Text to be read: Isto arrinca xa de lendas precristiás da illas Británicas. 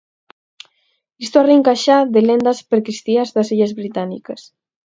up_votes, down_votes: 4, 0